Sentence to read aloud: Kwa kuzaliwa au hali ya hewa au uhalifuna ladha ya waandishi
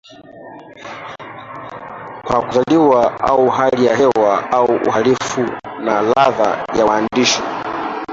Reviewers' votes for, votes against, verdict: 1, 2, rejected